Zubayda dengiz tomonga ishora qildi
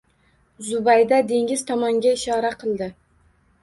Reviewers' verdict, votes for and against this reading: accepted, 2, 0